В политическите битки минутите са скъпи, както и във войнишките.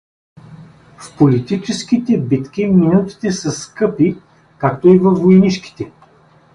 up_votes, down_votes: 0, 2